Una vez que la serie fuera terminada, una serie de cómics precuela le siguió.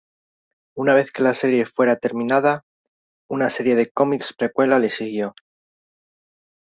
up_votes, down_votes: 2, 0